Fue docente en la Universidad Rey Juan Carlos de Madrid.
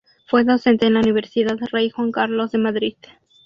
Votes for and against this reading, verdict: 2, 0, accepted